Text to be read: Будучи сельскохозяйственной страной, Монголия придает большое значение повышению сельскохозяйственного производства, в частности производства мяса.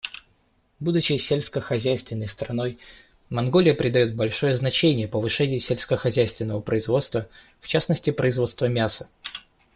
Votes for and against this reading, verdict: 2, 0, accepted